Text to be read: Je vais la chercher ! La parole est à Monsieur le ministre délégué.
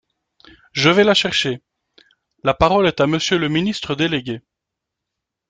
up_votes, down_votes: 2, 0